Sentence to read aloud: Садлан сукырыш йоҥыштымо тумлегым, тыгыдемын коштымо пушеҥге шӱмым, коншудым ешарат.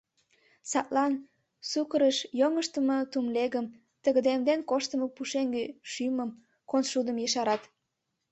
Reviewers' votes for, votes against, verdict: 1, 3, rejected